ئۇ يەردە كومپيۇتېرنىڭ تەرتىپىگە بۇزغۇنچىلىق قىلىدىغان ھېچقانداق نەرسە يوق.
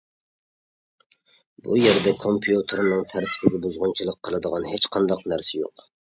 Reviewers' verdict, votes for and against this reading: accepted, 2, 1